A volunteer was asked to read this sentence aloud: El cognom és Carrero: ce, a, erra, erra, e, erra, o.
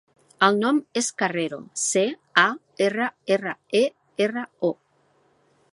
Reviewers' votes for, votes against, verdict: 0, 2, rejected